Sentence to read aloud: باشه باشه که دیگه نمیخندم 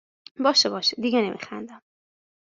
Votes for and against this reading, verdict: 1, 2, rejected